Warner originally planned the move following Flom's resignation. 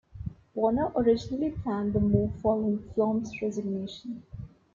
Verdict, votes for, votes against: accepted, 2, 1